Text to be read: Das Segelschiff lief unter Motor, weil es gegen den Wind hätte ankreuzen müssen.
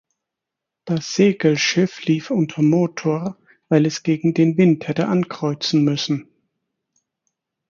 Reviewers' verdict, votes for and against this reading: accepted, 4, 0